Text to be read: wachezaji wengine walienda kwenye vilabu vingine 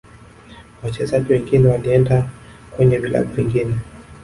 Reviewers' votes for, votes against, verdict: 1, 2, rejected